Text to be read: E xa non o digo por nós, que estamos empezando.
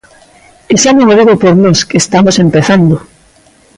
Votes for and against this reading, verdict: 2, 0, accepted